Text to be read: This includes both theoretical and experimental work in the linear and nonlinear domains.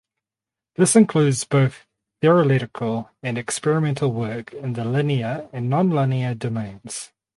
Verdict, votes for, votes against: rejected, 0, 4